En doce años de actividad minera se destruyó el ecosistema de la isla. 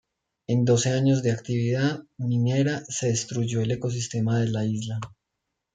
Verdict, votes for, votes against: rejected, 1, 2